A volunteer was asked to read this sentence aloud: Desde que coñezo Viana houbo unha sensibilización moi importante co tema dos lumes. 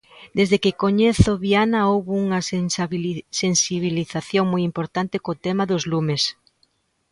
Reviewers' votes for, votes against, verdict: 0, 2, rejected